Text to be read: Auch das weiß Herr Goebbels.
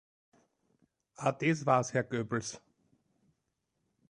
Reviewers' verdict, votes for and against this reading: rejected, 1, 3